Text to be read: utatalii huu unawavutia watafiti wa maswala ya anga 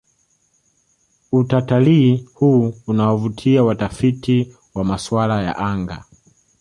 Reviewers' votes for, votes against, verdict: 2, 0, accepted